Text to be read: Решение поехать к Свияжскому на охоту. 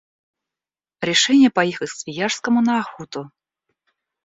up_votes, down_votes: 0, 2